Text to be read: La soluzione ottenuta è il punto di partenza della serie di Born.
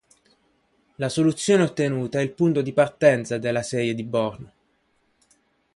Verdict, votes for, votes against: accepted, 2, 0